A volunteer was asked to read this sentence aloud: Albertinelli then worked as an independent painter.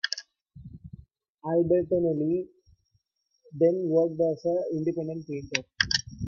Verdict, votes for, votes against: rejected, 0, 2